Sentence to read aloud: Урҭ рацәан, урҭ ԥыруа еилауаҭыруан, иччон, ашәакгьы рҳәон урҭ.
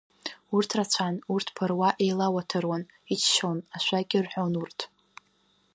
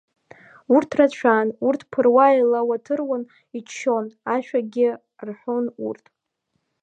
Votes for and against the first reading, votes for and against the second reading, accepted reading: 2, 0, 0, 2, first